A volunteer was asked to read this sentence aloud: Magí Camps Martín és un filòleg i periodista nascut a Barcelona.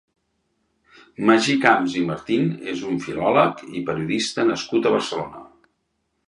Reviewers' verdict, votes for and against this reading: rejected, 1, 2